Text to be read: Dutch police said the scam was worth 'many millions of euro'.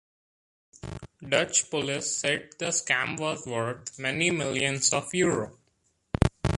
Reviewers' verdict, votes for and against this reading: accepted, 2, 1